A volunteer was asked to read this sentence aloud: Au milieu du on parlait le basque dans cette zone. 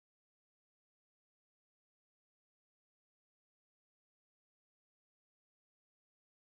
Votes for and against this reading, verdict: 0, 3, rejected